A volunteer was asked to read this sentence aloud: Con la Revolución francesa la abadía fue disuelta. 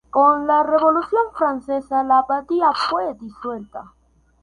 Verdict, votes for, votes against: accepted, 2, 0